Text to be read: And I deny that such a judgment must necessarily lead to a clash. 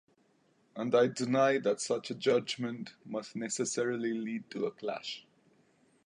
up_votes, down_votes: 1, 2